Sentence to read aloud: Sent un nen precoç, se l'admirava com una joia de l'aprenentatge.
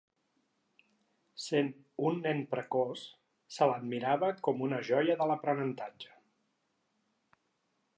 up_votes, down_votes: 3, 0